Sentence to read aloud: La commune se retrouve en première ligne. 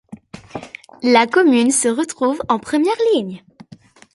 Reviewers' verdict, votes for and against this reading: accepted, 2, 0